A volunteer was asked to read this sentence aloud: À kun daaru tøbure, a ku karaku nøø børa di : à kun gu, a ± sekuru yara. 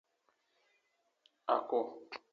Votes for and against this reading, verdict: 0, 2, rejected